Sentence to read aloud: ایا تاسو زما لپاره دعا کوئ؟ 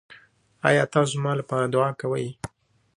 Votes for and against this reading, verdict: 2, 0, accepted